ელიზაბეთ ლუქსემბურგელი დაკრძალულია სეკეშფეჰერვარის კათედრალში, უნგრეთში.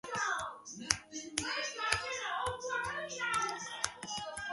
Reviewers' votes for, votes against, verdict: 0, 2, rejected